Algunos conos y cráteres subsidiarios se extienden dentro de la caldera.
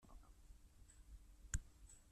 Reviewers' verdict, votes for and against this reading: rejected, 1, 2